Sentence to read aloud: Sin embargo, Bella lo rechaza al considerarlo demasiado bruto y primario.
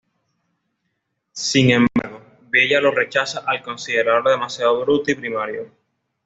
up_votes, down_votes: 2, 0